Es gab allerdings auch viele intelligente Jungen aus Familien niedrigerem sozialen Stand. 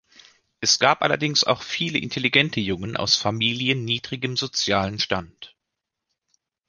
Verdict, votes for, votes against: rejected, 0, 2